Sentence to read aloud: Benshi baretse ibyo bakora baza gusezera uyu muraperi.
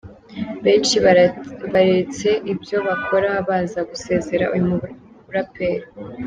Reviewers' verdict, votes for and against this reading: rejected, 0, 2